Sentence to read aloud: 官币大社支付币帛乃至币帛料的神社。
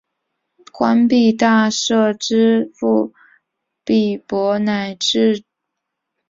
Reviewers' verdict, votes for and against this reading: rejected, 0, 2